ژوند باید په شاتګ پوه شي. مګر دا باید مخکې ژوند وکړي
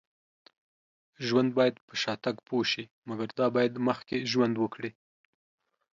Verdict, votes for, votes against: accepted, 2, 0